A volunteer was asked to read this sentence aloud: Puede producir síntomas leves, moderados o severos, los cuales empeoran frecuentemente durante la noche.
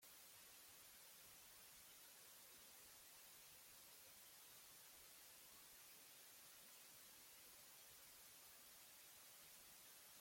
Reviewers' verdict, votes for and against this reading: rejected, 0, 2